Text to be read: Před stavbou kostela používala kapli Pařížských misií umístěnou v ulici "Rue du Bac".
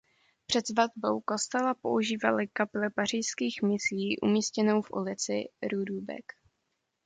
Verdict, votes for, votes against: rejected, 0, 2